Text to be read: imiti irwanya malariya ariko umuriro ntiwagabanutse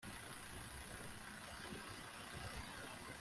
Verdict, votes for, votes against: rejected, 0, 2